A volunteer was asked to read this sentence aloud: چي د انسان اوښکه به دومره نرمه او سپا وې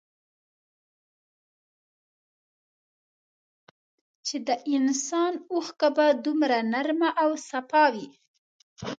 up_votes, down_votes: 1, 2